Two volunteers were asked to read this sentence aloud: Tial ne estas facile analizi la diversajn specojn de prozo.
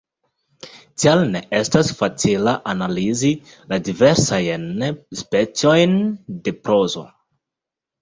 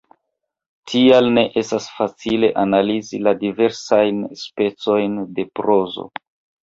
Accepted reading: first